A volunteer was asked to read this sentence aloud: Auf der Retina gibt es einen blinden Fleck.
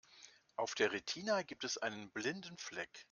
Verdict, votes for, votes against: rejected, 1, 2